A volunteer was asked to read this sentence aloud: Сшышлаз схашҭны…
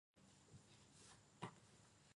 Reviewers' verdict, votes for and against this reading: rejected, 0, 2